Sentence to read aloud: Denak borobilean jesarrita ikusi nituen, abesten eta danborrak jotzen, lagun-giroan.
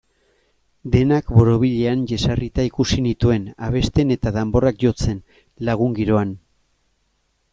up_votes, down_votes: 2, 0